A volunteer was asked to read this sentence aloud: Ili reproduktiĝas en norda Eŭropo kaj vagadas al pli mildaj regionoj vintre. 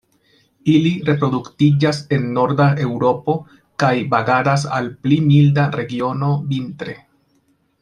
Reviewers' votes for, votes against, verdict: 0, 2, rejected